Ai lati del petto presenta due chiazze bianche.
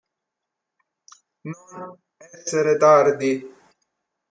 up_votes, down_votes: 0, 2